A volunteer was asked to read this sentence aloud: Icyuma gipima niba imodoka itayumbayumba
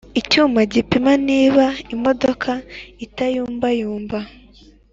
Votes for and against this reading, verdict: 3, 0, accepted